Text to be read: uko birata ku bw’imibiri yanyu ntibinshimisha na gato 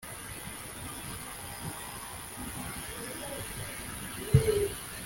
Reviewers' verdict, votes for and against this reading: rejected, 0, 2